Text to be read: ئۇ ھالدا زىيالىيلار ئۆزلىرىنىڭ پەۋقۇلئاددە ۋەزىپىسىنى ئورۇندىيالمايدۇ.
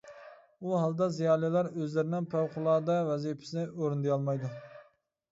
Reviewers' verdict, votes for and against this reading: accepted, 2, 0